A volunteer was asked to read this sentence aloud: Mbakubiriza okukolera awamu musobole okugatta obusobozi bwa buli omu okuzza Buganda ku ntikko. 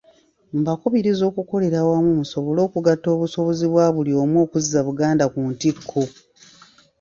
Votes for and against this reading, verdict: 3, 0, accepted